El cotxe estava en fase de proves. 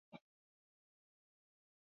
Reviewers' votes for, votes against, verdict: 1, 2, rejected